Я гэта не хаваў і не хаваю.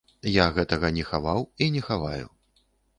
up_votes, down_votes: 0, 2